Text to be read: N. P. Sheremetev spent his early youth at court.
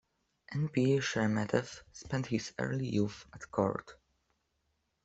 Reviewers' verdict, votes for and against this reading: rejected, 1, 2